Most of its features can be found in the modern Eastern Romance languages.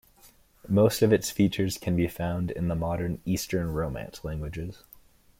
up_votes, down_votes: 2, 0